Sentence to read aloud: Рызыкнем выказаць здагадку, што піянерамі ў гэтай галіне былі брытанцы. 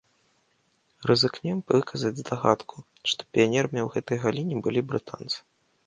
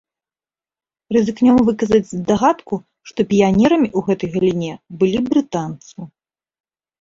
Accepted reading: second